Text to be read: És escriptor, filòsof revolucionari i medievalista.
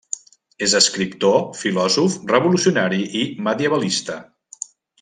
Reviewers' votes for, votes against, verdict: 3, 0, accepted